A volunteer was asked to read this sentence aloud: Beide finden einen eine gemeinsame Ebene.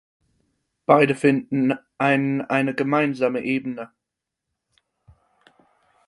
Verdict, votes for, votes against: rejected, 0, 4